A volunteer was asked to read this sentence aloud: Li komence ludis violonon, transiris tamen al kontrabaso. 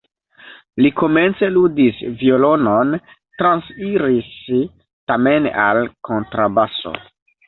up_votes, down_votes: 0, 2